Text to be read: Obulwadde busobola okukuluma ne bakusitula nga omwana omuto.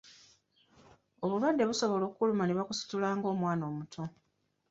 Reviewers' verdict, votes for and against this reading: rejected, 1, 2